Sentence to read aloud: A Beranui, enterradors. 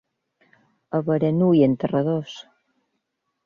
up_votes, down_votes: 2, 0